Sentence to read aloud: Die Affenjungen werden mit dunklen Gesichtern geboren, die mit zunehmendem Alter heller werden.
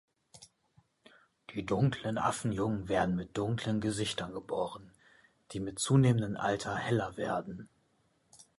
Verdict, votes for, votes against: rejected, 0, 2